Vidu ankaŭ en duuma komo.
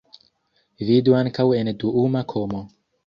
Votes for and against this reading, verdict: 0, 2, rejected